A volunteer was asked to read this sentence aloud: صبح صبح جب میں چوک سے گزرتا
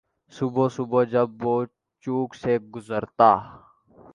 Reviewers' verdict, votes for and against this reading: rejected, 2, 3